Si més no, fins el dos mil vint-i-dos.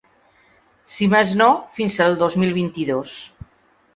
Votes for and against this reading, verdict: 0, 2, rejected